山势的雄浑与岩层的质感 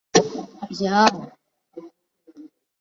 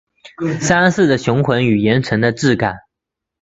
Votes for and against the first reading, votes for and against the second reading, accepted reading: 0, 3, 2, 0, second